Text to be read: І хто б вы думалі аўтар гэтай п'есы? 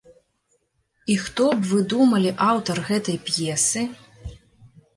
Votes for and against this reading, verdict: 3, 0, accepted